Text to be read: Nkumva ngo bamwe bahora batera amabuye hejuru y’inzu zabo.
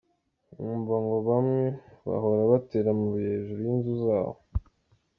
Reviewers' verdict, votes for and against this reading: accepted, 2, 0